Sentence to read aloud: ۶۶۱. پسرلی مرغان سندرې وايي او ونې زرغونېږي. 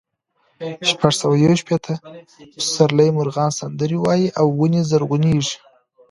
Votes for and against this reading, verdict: 0, 2, rejected